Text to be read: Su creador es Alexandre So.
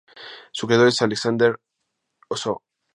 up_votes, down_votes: 0, 2